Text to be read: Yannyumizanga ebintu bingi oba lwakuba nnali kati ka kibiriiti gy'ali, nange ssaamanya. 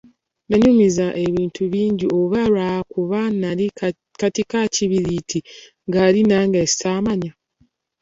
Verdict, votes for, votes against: accepted, 2, 1